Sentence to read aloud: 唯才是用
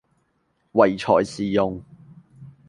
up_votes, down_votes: 2, 0